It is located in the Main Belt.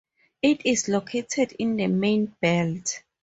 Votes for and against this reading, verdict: 2, 0, accepted